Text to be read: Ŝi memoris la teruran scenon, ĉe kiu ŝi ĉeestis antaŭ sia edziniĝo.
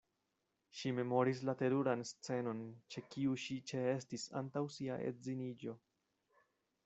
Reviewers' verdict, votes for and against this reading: rejected, 1, 2